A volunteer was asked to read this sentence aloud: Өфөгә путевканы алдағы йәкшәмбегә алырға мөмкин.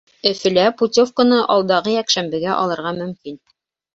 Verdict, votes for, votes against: rejected, 0, 2